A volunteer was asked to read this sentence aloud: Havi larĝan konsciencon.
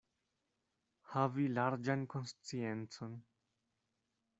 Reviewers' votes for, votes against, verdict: 2, 0, accepted